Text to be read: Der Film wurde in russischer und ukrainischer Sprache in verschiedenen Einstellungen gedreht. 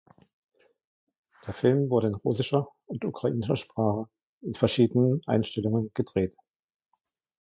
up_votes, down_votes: 2, 1